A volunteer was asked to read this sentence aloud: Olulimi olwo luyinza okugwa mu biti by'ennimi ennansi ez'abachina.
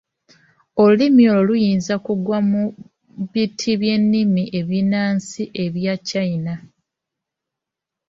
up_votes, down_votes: 1, 2